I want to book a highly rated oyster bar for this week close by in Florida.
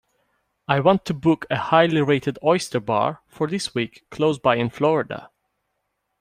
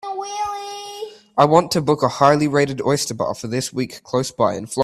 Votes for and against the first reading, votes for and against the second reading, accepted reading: 2, 0, 1, 2, first